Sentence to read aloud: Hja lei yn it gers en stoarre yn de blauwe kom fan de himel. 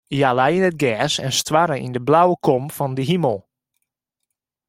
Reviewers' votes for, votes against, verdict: 0, 2, rejected